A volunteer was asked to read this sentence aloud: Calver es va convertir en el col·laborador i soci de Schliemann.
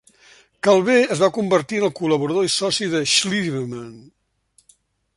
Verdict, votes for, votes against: accepted, 2, 0